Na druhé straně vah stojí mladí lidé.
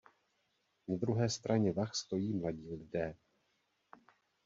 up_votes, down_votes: 2, 0